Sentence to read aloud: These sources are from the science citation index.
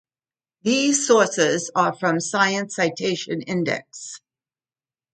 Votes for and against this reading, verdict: 2, 0, accepted